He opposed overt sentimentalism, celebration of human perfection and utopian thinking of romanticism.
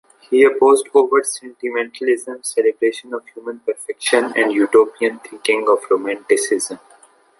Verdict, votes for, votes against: accepted, 2, 1